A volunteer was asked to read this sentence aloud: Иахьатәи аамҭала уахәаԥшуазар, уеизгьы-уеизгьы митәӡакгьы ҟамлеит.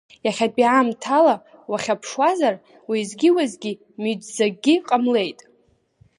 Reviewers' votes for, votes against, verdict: 1, 3, rejected